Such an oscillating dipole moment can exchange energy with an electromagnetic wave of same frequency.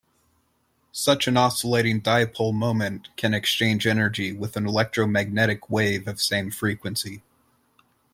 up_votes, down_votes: 2, 0